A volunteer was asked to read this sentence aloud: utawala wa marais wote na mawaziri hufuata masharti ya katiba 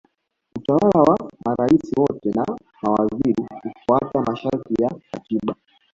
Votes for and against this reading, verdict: 0, 2, rejected